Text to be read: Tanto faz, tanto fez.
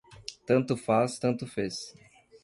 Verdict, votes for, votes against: accepted, 2, 0